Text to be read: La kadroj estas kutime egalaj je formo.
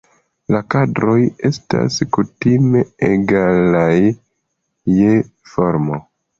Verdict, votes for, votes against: accepted, 2, 0